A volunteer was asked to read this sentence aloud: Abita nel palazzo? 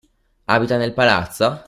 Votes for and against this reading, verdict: 0, 2, rejected